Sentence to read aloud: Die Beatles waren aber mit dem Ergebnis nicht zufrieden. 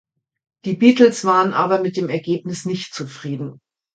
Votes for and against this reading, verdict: 2, 0, accepted